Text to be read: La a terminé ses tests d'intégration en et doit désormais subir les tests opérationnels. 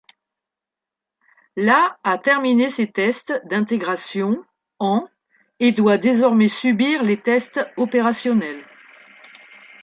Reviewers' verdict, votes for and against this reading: accepted, 2, 0